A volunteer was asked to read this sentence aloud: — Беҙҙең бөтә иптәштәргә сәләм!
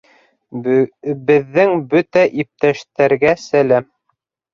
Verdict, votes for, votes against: rejected, 0, 2